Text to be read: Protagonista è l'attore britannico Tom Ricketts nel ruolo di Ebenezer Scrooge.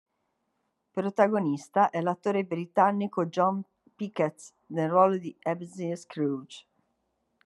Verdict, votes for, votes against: rejected, 0, 2